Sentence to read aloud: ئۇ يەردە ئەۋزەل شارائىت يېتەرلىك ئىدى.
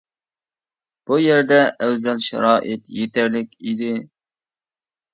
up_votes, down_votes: 0, 2